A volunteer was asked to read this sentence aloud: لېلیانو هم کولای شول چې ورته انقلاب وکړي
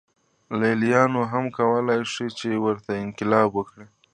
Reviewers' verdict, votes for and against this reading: accepted, 2, 1